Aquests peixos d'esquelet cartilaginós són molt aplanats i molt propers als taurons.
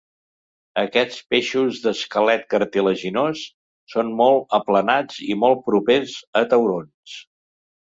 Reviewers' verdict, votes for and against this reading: rejected, 1, 2